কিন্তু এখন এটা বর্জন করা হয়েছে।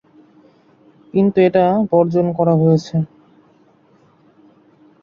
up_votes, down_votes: 1, 3